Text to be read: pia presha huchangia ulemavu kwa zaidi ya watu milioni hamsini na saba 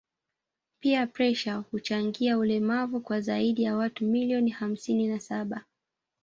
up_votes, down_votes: 1, 2